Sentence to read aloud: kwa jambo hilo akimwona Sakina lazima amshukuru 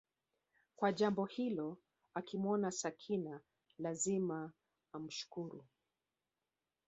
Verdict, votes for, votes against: accepted, 2, 0